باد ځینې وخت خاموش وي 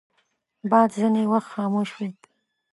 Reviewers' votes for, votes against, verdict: 2, 0, accepted